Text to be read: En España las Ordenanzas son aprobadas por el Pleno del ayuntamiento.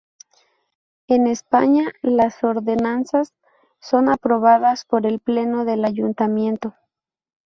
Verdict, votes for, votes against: rejected, 0, 2